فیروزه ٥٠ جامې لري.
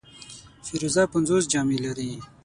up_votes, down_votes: 0, 2